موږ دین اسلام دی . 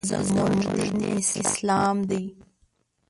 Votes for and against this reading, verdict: 1, 2, rejected